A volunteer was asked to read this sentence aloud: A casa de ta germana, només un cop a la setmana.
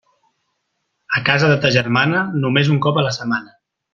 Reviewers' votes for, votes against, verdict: 3, 0, accepted